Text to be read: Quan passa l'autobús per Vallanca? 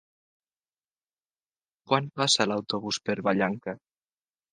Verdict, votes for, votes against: accepted, 2, 0